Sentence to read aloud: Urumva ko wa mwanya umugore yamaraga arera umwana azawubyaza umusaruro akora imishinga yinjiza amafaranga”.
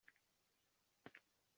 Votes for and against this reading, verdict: 0, 2, rejected